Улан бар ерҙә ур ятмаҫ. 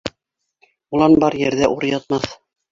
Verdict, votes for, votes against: rejected, 1, 2